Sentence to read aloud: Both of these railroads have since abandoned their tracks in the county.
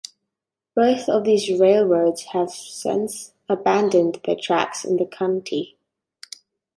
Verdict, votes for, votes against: accepted, 2, 0